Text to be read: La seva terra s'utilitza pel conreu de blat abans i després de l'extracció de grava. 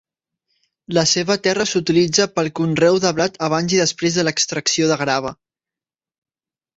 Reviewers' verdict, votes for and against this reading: accepted, 3, 0